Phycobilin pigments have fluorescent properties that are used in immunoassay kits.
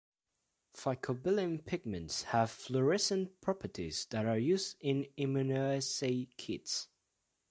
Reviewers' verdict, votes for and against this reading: accepted, 2, 1